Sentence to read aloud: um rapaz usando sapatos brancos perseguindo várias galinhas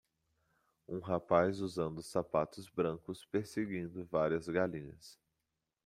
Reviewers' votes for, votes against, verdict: 2, 0, accepted